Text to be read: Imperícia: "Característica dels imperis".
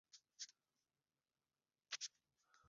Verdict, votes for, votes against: rejected, 0, 2